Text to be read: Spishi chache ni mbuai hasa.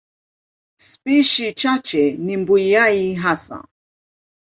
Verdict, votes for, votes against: accepted, 2, 0